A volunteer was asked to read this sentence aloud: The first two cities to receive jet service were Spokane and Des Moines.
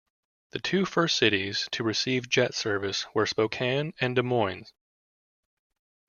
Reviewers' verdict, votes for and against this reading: rejected, 1, 2